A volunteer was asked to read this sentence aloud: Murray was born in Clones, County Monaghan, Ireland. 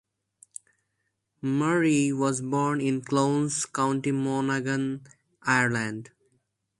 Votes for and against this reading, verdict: 2, 0, accepted